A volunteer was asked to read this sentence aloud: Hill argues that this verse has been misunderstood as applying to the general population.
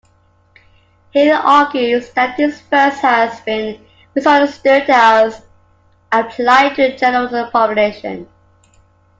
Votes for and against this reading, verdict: 1, 2, rejected